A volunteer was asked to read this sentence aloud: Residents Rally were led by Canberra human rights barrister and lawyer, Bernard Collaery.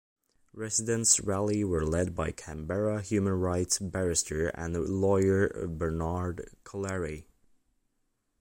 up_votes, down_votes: 2, 0